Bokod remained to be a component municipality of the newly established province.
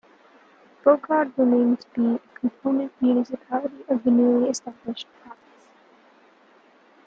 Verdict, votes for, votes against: rejected, 1, 2